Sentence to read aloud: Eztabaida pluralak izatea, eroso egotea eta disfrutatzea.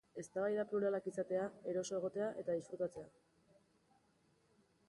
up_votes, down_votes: 3, 1